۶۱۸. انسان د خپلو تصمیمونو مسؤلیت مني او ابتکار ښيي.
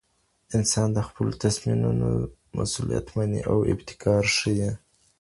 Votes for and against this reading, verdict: 0, 2, rejected